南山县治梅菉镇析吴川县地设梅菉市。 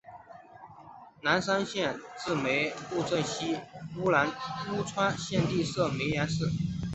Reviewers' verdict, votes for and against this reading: rejected, 0, 2